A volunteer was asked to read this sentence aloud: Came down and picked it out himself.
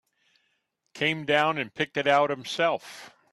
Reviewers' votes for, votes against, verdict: 2, 0, accepted